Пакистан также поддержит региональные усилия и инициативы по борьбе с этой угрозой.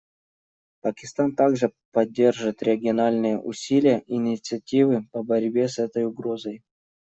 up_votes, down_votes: 2, 0